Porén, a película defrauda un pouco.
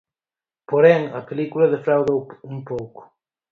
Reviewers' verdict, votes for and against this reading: rejected, 0, 4